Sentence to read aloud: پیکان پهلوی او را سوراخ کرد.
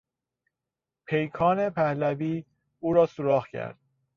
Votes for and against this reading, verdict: 1, 2, rejected